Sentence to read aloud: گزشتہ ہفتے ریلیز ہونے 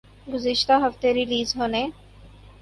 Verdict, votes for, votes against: rejected, 0, 2